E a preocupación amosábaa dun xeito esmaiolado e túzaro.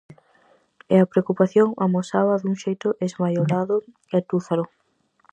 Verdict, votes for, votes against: accepted, 4, 0